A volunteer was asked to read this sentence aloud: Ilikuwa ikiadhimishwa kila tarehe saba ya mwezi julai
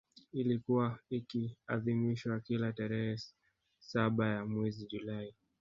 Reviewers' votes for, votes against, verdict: 0, 2, rejected